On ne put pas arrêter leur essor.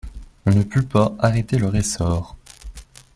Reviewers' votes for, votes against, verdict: 2, 0, accepted